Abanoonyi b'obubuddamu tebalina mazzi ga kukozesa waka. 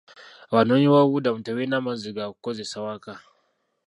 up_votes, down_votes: 1, 2